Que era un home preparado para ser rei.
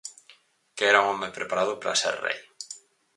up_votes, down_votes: 4, 0